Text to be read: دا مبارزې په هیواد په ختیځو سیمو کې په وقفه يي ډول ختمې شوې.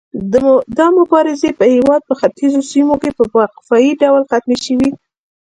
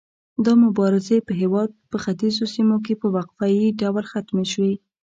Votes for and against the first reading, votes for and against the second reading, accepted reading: 2, 1, 0, 2, first